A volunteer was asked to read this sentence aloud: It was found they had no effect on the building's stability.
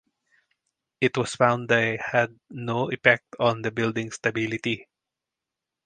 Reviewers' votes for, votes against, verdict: 2, 2, rejected